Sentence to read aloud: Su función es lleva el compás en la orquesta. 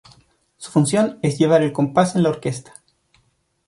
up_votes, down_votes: 1, 2